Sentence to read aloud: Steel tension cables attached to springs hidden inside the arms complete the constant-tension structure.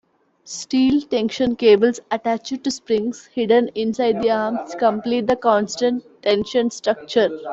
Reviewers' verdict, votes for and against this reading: accepted, 2, 0